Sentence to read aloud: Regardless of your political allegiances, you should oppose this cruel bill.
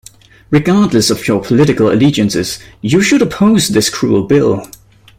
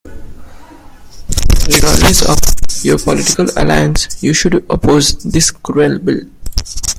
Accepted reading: first